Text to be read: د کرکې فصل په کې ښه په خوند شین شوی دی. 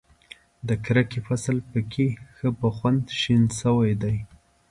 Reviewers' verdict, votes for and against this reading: accepted, 2, 0